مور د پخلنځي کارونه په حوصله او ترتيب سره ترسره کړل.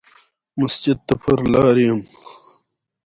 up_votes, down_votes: 1, 2